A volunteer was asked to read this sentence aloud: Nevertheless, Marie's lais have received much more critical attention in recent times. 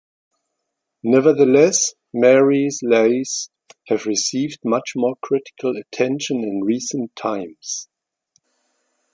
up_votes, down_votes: 2, 0